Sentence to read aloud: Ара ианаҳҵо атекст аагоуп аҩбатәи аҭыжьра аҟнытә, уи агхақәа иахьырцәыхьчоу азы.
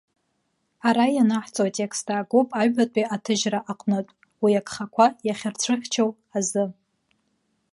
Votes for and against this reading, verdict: 2, 0, accepted